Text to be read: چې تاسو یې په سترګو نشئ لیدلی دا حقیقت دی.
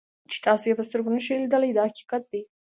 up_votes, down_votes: 2, 0